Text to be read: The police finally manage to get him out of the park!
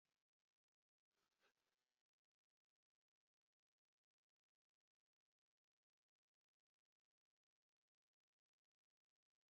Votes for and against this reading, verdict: 0, 3, rejected